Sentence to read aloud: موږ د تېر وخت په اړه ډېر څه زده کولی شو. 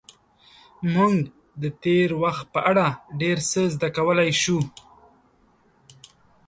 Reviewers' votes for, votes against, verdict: 0, 2, rejected